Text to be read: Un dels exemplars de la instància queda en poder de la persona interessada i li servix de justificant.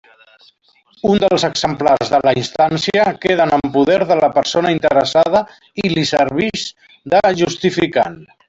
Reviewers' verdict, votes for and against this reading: rejected, 1, 2